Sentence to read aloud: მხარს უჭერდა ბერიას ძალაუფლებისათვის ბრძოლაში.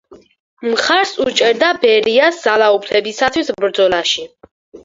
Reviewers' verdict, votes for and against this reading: accepted, 4, 0